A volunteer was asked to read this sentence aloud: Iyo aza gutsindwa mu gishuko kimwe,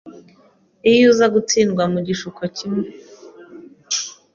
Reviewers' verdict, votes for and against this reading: rejected, 1, 2